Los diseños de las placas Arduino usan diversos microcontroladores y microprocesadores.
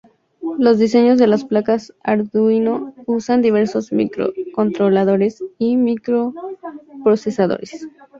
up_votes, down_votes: 2, 0